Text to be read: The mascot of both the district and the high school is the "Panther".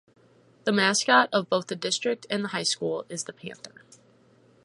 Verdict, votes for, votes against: accepted, 4, 0